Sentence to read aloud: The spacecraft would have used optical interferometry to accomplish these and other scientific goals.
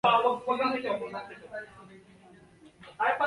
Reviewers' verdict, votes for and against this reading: rejected, 0, 2